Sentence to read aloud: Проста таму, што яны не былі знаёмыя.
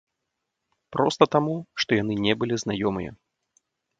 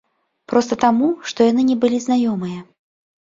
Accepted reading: second